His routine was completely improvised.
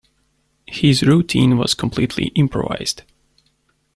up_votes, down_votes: 2, 0